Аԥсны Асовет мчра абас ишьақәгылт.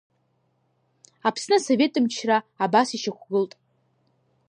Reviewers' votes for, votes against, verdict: 0, 2, rejected